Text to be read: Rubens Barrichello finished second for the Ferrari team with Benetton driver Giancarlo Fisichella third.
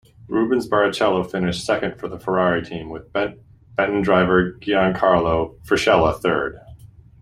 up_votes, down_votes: 1, 2